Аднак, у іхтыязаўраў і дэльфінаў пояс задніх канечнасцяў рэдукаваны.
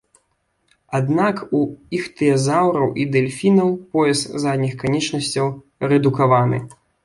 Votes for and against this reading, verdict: 2, 0, accepted